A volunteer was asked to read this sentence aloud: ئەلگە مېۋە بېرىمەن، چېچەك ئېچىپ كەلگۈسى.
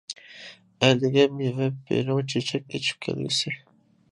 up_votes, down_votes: 0, 2